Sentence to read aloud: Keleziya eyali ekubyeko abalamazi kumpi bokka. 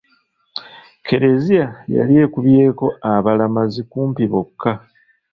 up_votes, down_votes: 0, 2